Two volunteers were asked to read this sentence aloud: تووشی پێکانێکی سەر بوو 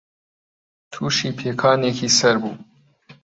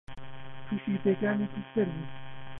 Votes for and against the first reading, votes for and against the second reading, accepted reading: 2, 0, 0, 2, first